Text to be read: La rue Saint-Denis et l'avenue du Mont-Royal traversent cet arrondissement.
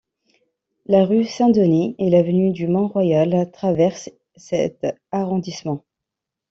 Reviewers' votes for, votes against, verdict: 2, 0, accepted